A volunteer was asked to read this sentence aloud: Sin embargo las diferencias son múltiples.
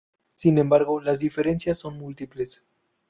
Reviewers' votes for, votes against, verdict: 2, 0, accepted